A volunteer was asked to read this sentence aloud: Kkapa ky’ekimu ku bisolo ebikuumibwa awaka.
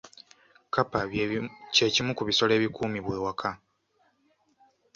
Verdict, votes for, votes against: rejected, 0, 2